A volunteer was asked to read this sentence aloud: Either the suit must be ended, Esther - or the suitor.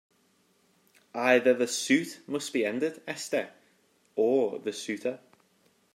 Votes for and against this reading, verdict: 2, 0, accepted